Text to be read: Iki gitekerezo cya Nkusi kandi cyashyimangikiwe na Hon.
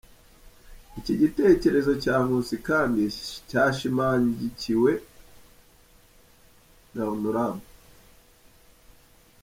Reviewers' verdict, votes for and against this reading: rejected, 1, 2